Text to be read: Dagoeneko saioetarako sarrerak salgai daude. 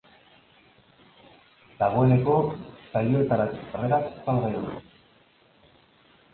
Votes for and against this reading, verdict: 0, 2, rejected